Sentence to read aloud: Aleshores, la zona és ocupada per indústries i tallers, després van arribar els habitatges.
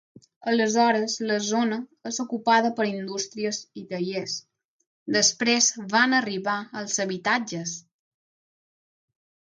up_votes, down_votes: 6, 0